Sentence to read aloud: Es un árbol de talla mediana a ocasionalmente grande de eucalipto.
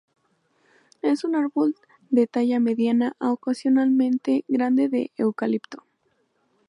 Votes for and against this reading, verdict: 2, 0, accepted